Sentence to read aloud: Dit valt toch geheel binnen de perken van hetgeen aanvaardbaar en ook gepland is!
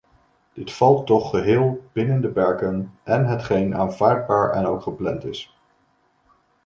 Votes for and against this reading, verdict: 0, 2, rejected